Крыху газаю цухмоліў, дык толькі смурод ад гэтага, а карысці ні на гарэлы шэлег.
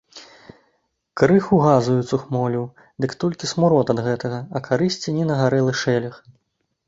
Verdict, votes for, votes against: accepted, 2, 0